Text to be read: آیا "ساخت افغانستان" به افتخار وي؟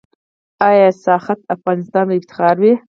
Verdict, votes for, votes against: rejected, 0, 4